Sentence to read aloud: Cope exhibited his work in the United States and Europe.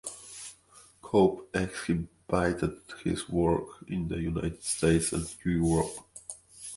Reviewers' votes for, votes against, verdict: 1, 2, rejected